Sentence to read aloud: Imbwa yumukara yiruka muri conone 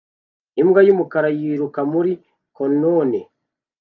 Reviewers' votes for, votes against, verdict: 2, 0, accepted